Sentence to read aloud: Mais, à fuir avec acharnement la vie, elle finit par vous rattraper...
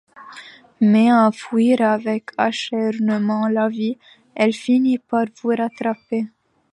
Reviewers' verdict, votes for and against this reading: rejected, 0, 2